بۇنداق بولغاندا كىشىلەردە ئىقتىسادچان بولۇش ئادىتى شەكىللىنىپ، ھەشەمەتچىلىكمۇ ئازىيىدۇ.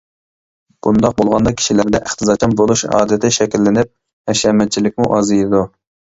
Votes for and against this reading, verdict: 2, 1, accepted